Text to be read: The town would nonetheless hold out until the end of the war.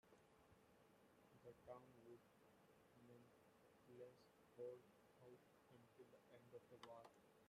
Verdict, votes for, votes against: rejected, 0, 2